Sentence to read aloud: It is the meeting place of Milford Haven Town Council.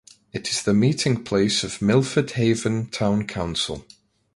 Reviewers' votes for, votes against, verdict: 2, 0, accepted